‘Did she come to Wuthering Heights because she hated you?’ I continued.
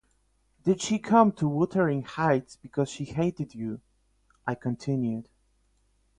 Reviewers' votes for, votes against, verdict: 8, 4, accepted